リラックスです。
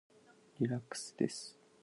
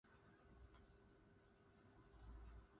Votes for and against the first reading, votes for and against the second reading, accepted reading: 3, 0, 0, 2, first